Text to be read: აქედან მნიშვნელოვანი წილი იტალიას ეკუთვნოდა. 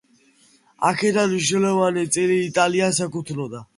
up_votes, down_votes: 2, 0